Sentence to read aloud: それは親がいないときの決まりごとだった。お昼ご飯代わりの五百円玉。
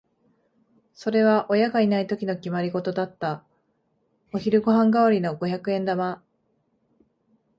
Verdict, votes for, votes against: accepted, 2, 0